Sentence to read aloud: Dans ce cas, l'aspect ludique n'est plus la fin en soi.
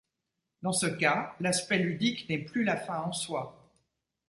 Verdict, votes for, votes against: accepted, 2, 0